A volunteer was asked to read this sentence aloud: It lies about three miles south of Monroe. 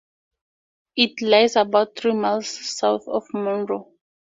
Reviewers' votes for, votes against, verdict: 2, 0, accepted